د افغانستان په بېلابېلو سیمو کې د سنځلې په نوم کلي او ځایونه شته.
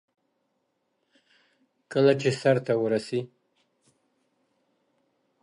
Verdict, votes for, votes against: rejected, 0, 2